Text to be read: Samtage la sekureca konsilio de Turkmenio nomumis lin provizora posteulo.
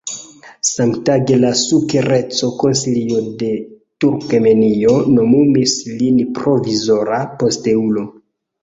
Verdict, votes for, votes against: rejected, 1, 3